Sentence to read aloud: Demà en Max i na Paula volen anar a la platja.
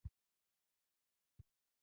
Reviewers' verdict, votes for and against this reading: rejected, 0, 2